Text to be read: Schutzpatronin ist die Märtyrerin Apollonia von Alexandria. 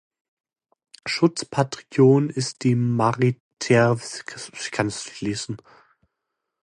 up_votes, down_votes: 0, 2